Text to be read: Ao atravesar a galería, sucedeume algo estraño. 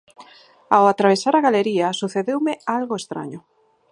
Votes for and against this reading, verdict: 4, 0, accepted